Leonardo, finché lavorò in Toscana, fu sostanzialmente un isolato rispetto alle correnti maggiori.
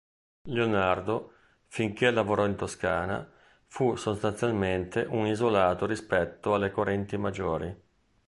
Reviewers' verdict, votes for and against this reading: accepted, 2, 0